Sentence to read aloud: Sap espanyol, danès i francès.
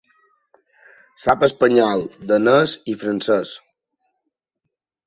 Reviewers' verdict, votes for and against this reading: accepted, 2, 0